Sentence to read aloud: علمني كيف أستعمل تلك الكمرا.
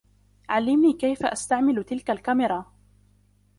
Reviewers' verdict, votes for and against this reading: accepted, 2, 1